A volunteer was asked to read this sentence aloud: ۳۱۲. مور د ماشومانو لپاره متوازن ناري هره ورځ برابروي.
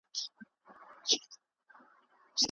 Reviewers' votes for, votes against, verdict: 0, 2, rejected